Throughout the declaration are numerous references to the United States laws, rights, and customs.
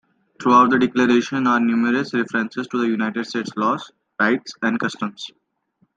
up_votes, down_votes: 2, 0